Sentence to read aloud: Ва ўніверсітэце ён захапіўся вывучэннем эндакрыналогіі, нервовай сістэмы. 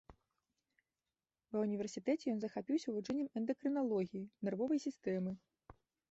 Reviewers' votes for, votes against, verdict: 2, 0, accepted